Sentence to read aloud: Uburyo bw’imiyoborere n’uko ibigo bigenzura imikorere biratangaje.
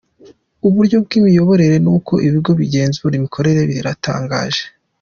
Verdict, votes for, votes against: accepted, 2, 0